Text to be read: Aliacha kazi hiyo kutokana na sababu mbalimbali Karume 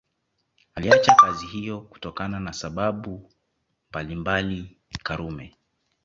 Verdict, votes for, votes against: accepted, 2, 0